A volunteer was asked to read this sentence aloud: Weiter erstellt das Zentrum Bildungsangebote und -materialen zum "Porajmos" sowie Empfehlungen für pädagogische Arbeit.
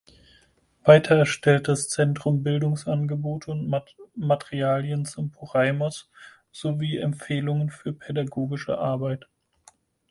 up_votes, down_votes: 0, 4